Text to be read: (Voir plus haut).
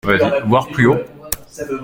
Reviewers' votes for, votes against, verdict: 1, 2, rejected